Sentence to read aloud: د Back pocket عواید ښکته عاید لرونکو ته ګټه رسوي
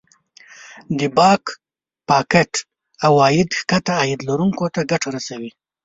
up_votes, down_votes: 1, 2